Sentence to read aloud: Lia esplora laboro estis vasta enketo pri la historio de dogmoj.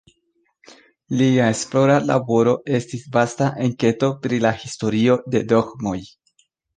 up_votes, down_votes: 2, 0